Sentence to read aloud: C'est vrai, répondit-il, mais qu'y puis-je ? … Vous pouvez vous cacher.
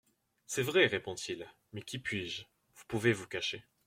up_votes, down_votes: 1, 2